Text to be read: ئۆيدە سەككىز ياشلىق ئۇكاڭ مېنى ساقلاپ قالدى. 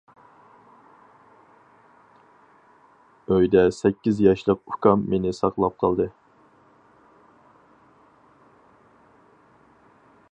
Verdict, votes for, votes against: rejected, 2, 2